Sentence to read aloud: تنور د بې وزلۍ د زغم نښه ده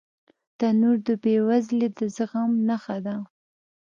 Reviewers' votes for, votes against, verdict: 1, 2, rejected